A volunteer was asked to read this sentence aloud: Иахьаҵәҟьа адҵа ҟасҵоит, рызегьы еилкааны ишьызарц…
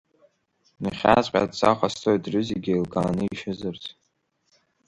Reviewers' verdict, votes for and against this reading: rejected, 1, 2